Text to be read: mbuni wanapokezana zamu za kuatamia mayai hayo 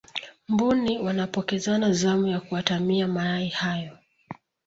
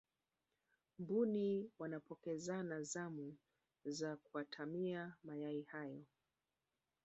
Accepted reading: first